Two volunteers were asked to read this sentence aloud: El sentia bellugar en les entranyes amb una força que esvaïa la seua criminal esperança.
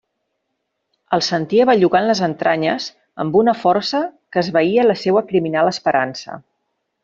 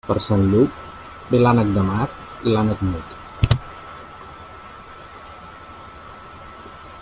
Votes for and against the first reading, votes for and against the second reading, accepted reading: 2, 0, 0, 2, first